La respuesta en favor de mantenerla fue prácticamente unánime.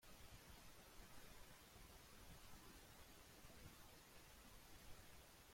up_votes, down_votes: 0, 2